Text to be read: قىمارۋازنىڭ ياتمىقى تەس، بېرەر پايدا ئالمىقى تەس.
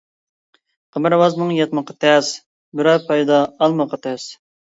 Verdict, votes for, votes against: rejected, 1, 2